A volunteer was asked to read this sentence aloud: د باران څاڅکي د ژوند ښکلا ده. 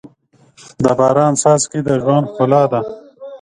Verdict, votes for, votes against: rejected, 1, 2